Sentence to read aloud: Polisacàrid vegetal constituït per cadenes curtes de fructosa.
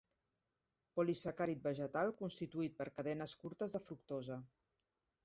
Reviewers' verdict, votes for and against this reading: rejected, 1, 2